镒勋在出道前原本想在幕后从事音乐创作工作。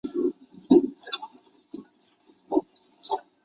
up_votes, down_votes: 0, 3